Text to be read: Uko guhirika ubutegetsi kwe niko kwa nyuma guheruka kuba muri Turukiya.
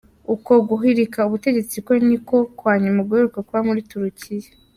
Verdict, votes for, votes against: accepted, 2, 0